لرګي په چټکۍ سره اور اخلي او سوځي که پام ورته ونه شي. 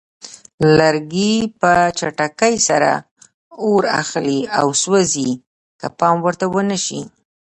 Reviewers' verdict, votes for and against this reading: accepted, 2, 0